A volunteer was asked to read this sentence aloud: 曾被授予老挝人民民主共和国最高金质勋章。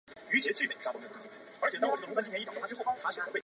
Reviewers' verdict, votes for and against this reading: rejected, 0, 2